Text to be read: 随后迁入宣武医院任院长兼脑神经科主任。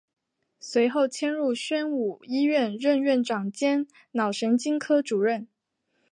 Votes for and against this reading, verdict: 3, 0, accepted